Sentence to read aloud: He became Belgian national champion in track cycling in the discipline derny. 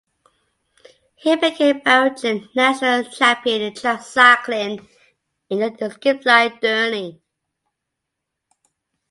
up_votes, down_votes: 2, 0